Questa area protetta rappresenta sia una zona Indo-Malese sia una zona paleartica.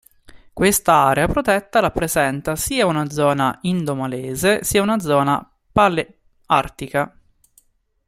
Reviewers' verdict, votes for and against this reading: rejected, 0, 2